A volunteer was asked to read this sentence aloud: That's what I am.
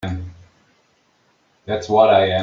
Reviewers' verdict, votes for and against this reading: accepted, 2, 1